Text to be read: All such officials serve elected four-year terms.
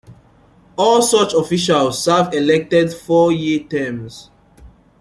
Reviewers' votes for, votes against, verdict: 2, 0, accepted